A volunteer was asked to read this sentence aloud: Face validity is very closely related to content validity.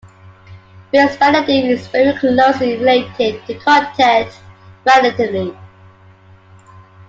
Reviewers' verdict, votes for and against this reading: accepted, 2, 0